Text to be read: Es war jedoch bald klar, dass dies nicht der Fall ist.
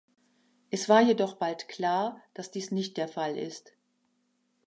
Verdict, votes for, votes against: accepted, 2, 0